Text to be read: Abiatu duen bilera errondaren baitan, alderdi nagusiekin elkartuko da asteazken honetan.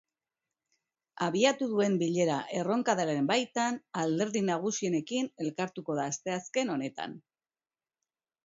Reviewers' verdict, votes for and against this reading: rejected, 0, 2